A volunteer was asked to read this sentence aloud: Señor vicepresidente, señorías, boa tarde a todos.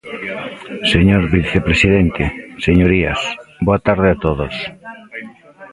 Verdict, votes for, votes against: rejected, 1, 2